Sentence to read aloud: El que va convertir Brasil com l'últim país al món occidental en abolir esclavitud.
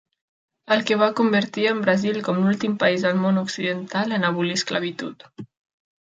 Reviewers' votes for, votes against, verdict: 0, 2, rejected